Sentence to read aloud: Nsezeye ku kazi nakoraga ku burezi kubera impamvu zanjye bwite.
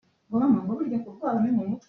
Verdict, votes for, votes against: rejected, 0, 2